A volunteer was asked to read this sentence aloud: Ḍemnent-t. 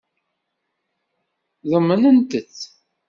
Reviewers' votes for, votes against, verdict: 2, 0, accepted